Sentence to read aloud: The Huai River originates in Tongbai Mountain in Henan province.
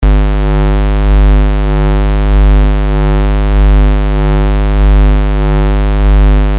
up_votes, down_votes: 0, 2